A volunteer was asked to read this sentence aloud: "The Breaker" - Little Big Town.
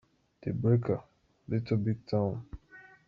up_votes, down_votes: 2, 0